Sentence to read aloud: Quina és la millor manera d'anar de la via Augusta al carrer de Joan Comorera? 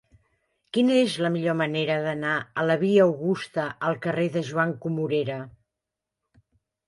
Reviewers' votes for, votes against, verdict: 1, 2, rejected